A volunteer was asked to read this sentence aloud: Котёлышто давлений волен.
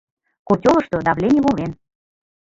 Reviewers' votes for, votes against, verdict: 2, 0, accepted